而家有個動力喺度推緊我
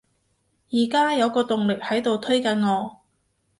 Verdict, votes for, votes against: accepted, 2, 0